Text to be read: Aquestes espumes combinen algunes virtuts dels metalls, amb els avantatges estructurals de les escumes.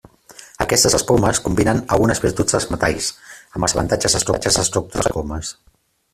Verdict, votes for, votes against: rejected, 0, 2